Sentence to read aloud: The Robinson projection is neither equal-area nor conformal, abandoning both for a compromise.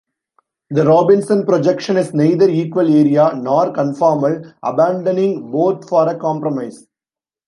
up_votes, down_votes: 2, 1